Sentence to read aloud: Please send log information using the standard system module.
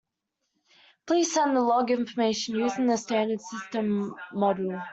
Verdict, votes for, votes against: rejected, 0, 2